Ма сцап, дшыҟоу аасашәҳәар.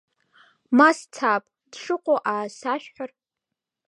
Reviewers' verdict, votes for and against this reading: accepted, 2, 1